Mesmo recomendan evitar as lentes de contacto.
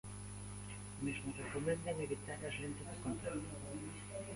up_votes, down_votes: 0, 2